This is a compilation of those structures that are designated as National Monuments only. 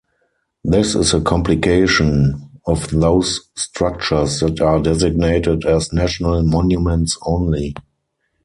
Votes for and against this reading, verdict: 0, 4, rejected